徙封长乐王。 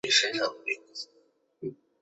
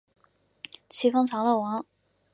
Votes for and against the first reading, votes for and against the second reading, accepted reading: 0, 3, 2, 1, second